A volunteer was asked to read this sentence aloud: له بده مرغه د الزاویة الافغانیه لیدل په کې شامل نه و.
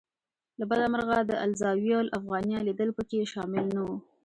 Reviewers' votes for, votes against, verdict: 1, 2, rejected